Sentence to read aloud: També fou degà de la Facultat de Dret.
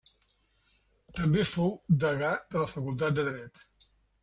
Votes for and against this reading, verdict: 3, 0, accepted